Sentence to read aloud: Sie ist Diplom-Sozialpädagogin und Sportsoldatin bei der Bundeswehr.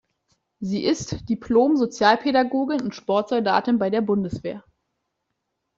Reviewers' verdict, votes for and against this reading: accepted, 2, 0